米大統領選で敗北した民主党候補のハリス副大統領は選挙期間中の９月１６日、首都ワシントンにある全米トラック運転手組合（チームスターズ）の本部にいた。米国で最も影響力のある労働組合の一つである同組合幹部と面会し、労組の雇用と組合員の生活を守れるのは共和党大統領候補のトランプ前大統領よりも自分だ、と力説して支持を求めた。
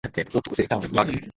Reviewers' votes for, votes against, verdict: 0, 2, rejected